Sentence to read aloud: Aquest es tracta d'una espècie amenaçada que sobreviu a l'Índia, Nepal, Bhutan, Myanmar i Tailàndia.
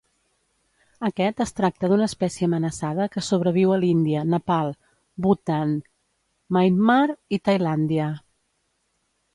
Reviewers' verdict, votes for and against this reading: rejected, 0, 2